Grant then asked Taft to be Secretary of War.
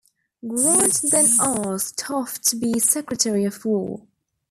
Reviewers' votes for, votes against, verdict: 0, 2, rejected